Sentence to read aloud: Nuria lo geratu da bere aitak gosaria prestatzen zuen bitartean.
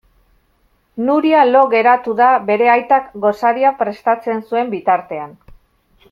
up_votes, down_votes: 2, 0